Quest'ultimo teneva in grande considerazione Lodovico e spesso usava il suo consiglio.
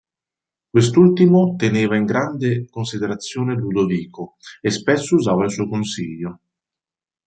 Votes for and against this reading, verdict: 0, 2, rejected